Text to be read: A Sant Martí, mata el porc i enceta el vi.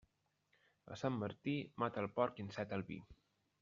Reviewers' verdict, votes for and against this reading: rejected, 1, 2